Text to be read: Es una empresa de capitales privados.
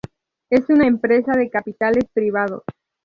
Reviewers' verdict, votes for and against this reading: accepted, 2, 0